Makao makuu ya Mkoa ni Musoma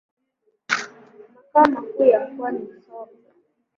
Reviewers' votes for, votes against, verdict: 0, 2, rejected